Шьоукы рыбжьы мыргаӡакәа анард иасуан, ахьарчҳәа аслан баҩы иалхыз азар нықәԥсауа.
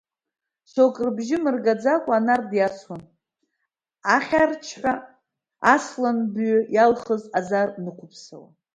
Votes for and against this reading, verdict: 1, 2, rejected